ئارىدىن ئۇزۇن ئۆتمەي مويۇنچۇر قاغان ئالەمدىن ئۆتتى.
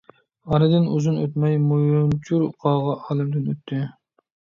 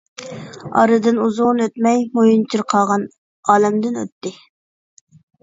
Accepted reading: second